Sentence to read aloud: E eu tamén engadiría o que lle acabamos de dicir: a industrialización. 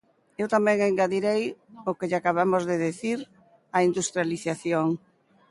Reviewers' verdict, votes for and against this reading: rejected, 0, 2